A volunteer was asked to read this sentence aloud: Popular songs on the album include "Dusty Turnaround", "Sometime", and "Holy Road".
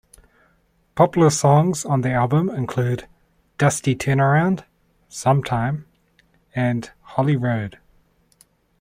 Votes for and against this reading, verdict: 2, 0, accepted